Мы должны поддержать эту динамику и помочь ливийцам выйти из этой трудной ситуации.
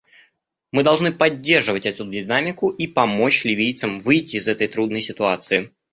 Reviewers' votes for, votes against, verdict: 0, 2, rejected